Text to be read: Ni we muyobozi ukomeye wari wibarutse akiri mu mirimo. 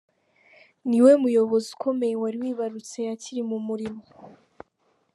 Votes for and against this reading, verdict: 2, 0, accepted